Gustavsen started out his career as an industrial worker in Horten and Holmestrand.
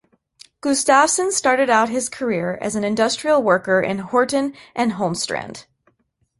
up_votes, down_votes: 2, 0